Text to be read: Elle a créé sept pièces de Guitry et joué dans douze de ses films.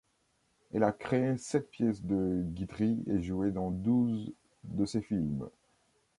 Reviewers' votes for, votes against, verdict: 2, 0, accepted